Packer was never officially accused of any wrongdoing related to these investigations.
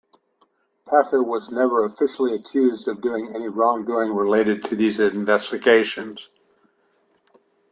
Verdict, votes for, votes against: rejected, 0, 2